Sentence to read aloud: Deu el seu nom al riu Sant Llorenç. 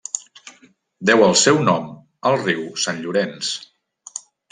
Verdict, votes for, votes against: accepted, 3, 0